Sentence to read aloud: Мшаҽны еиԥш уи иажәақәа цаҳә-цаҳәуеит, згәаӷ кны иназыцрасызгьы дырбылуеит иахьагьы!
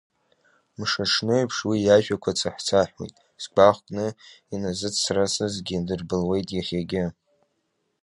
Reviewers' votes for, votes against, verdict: 1, 2, rejected